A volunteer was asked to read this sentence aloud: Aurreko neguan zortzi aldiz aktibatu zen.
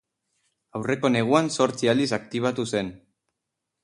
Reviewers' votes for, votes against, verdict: 2, 2, rejected